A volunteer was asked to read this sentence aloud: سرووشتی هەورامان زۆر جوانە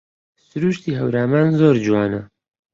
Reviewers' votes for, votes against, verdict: 1, 2, rejected